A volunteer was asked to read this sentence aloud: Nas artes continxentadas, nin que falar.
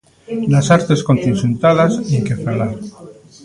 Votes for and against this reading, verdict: 1, 2, rejected